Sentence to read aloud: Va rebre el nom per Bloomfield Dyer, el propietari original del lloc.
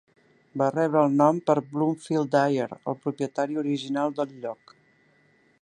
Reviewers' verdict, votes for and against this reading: accepted, 4, 0